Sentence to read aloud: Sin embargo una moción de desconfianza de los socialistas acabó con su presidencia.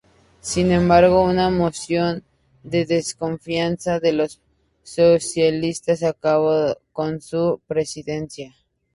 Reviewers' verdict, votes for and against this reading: rejected, 2, 2